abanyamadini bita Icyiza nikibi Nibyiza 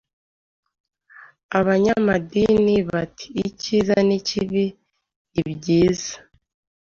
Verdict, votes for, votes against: rejected, 1, 2